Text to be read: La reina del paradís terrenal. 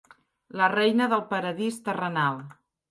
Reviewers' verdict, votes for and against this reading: accepted, 2, 0